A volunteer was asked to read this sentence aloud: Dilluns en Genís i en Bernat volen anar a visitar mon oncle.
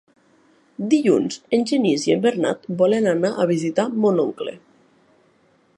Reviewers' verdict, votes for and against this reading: accepted, 3, 0